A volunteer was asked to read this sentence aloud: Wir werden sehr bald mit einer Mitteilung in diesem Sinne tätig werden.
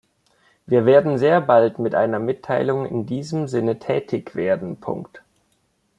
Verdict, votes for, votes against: rejected, 0, 2